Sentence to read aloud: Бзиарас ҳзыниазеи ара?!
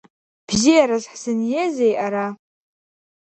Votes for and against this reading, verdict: 2, 1, accepted